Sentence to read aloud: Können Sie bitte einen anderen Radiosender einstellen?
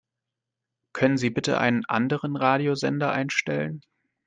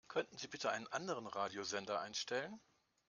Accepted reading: first